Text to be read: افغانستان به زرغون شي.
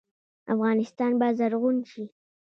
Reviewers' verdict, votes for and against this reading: rejected, 0, 2